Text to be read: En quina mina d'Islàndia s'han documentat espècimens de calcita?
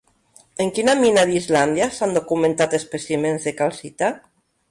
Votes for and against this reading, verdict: 1, 2, rejected